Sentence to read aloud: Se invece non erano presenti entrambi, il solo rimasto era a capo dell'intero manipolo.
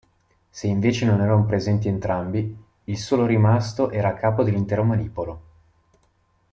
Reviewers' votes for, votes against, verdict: 2, 0, accepted